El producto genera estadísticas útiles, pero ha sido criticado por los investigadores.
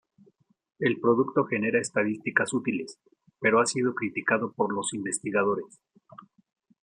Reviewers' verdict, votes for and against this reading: accepted, 2, 0